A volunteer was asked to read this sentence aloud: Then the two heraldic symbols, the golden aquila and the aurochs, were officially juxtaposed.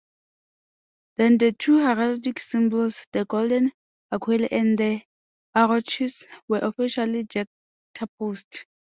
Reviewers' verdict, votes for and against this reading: rejected, 0, 2